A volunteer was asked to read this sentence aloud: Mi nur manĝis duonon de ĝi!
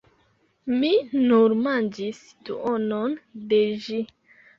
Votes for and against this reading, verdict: 2, 0, accepted